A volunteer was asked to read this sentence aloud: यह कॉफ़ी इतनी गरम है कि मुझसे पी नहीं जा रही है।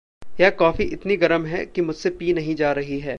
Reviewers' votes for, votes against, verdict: 2, 0, accepted